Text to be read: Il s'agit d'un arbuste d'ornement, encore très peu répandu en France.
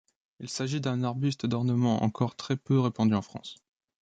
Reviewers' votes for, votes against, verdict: 2, 0, accepted